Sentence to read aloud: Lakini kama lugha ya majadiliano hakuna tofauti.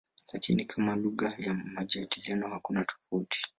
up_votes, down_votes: 2, 0